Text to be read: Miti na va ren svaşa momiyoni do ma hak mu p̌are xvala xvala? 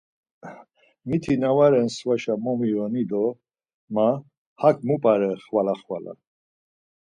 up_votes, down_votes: 4, 0